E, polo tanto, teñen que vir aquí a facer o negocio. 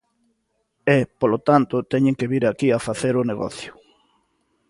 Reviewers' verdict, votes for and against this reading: accepted, 2, 0